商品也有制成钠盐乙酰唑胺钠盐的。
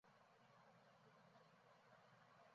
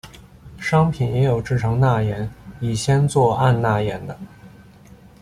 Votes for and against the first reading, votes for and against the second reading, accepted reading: 1, 3, 2, 0, second